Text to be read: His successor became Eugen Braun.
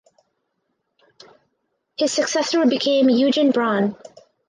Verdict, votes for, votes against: accepted, 4, 2